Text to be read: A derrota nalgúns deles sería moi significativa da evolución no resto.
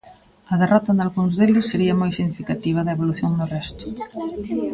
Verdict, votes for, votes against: rejected, 1, 2